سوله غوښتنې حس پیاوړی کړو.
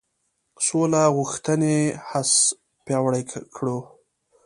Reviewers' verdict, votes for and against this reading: accepted, 2, 1